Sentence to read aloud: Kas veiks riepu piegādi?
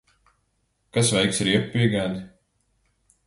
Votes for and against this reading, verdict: 2, 0, accepted